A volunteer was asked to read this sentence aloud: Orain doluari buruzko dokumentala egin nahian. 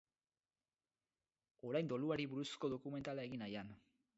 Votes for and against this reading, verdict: 2, 2, rejected